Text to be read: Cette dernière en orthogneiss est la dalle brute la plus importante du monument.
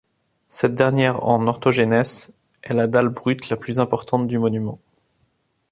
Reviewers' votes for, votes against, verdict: 1, 2, rejected